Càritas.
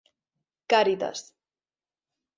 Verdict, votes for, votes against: accepted, 3, 0